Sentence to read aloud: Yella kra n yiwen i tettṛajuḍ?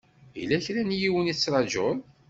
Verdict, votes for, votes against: accepted, 2, 0